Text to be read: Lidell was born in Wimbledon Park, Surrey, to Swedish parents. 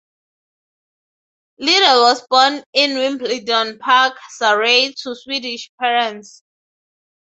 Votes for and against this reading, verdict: 3, 0, accepted